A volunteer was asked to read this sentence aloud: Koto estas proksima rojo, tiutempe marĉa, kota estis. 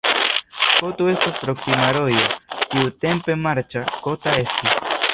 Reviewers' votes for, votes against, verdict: 1, 2, rejected